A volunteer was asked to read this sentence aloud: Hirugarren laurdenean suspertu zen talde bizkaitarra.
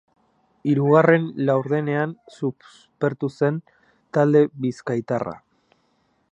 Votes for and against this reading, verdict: 0, 3, rejected